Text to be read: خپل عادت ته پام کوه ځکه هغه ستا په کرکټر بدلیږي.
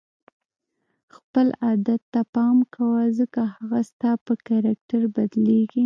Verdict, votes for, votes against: rejected, 1, 2